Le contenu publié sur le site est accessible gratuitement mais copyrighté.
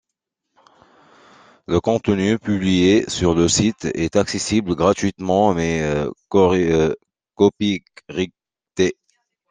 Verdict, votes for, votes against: rejected, 0, 2